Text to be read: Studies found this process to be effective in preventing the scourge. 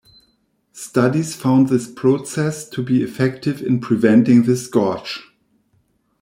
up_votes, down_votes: 1, 2